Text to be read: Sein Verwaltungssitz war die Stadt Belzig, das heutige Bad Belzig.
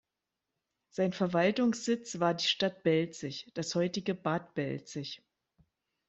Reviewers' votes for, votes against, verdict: 2, 0, accepted